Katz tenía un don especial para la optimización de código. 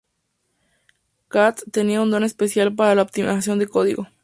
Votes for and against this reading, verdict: 0, 2, rejected